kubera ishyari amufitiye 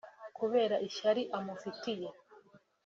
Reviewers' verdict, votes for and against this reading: accepted, 2, 0